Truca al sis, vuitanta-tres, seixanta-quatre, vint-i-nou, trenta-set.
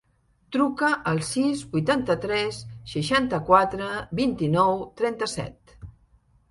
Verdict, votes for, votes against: accepted, 3, 0